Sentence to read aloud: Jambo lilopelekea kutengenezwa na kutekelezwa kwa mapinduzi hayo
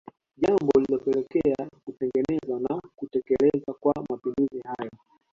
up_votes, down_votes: 3, 4